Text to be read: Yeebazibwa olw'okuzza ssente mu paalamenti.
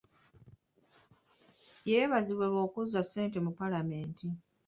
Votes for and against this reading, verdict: 2, 0, accepted